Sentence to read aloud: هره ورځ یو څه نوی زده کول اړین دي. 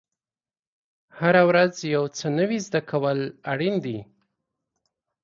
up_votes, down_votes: 2, 1